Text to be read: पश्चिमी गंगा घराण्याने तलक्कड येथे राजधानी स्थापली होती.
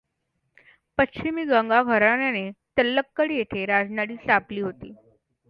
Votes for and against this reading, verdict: 2, 1, accepted